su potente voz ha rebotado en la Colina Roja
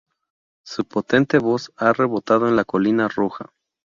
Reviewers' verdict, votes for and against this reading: rejected, 0, 2